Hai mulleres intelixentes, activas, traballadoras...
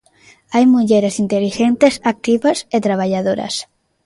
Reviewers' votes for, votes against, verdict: 0, 3, rejected